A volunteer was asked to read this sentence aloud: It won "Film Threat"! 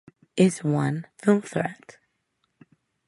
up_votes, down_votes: 0, 2